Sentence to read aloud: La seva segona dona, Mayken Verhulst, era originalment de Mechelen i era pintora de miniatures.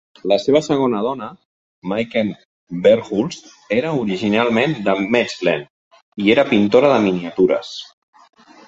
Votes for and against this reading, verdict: 1, 2, rejected